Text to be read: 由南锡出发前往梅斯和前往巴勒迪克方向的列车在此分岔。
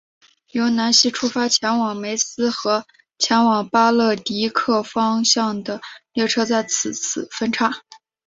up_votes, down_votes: 2, 0